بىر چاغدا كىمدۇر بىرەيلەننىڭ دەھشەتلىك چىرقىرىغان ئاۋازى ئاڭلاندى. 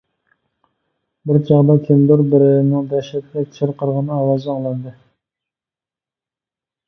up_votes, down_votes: 1, 2